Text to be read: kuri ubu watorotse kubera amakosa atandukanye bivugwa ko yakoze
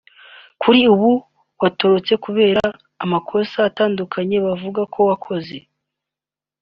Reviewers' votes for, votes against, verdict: 1, 3, rejected